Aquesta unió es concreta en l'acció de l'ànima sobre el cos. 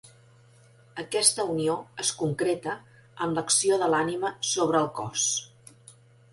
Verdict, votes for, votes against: accepted, 3, 0